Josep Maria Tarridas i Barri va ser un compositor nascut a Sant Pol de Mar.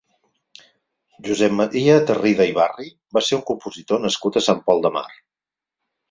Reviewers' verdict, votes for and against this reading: rejected, 0, 4